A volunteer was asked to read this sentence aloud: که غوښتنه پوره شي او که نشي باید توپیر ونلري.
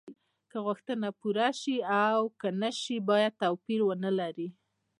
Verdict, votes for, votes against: accepted, 2, 0